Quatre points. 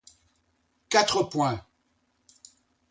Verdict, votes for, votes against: accepted, 2, 0